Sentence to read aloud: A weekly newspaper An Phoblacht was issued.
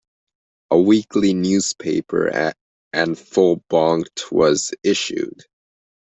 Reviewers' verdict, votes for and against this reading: rejected, 0, 2